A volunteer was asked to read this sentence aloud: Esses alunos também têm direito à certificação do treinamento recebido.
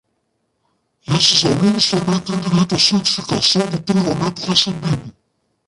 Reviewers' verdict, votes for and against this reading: rejected, 0, 2